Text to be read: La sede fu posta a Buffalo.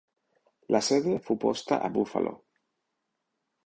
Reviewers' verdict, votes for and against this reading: rejected, 2, 3